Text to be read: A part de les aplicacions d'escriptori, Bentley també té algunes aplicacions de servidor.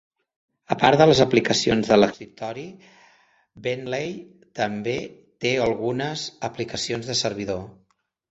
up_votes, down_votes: 0, 2